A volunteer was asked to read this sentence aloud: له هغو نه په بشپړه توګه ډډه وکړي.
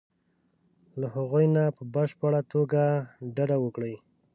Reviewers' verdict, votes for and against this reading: accepted, 2, 0